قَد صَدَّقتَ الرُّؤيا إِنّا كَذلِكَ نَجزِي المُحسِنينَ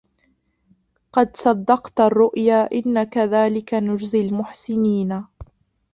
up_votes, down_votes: 0, 2